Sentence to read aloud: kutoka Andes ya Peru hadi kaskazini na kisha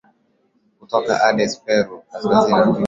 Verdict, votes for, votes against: rejected, 1, 5